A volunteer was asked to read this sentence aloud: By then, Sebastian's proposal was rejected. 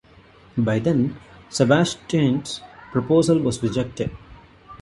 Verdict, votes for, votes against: accepted, 2, 0